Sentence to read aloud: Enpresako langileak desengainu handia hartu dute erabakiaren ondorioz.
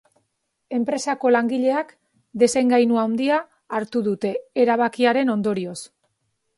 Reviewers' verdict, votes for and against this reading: accepted, 3, 0